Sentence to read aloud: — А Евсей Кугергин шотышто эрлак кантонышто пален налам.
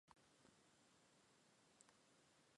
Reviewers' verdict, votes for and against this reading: rejected, 0, 2